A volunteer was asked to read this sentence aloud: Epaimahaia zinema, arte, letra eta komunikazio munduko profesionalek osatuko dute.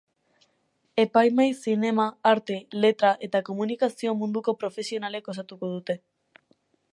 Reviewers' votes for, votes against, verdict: 2, 4, rejected